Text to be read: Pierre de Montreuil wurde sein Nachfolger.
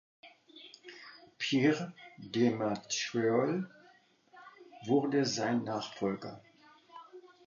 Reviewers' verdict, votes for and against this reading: rejected, 1, 2